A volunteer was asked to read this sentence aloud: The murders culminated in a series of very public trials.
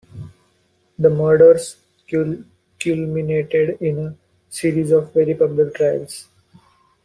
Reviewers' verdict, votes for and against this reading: rejected, 0, 2